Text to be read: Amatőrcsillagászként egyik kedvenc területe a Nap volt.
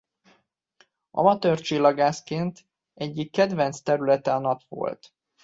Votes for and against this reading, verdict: 2, 0, accepted